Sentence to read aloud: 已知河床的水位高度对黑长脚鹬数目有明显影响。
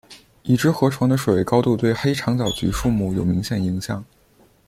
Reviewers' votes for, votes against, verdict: 1, 2, rejected